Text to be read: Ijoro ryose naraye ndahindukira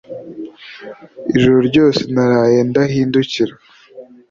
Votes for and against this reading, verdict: 2, 0, accepted